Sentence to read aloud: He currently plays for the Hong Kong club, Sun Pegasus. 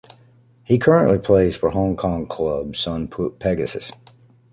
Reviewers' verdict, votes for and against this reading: rejected, 1, 2